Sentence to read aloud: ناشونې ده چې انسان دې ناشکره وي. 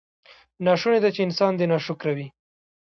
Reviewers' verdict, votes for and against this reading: accepted, 2, 1